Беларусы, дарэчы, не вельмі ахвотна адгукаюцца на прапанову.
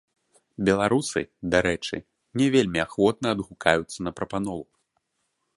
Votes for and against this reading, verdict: 1, 2, rejected